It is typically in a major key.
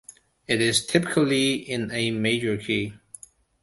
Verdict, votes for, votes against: accepted, 2, 0